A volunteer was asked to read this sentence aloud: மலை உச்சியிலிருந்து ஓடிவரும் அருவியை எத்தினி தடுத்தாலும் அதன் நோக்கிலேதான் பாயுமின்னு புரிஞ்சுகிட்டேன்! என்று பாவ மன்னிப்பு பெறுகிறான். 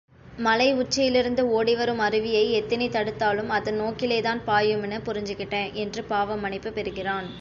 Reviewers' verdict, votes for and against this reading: accepted, 3, 0